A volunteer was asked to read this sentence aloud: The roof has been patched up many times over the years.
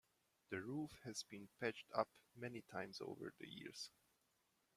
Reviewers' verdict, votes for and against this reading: rejected, 1, 2